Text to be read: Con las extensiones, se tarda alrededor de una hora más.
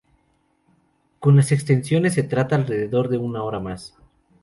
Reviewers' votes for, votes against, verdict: 0, 2, rejected